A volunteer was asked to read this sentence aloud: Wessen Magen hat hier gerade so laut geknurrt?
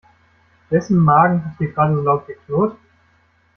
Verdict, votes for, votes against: rejected, 1, 2